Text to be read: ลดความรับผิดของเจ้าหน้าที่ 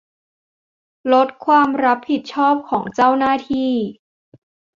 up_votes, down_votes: 1, 2